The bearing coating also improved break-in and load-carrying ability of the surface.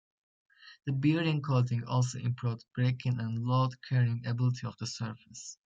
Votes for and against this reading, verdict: 2, 0, accepted